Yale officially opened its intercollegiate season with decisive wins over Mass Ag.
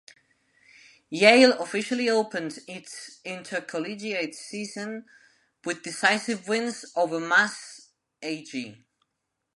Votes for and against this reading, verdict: 1, 2, rejected